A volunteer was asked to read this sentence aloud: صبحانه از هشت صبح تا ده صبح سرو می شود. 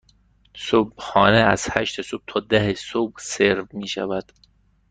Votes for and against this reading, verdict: 2, 0, accepted